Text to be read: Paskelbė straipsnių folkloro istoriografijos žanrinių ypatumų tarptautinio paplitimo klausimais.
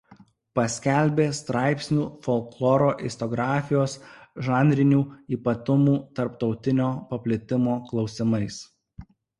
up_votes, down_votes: 1, 2